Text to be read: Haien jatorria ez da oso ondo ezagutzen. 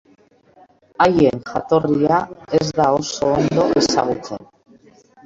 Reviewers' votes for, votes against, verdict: 0, 2, rejected